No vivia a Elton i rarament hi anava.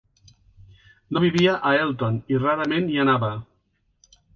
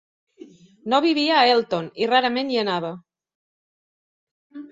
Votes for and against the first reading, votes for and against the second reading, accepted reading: 3, 0, 0, 2, first